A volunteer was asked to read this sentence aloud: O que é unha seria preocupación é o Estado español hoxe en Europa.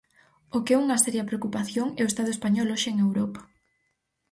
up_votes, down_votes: 4, 0